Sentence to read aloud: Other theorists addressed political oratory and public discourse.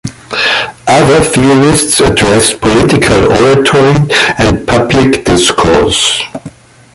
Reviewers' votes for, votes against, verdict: 1, 2, rejected